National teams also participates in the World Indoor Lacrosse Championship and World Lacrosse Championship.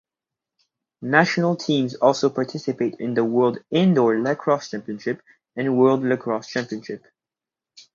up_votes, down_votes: 0, 2